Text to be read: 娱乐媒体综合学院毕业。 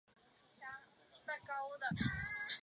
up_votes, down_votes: 0, 4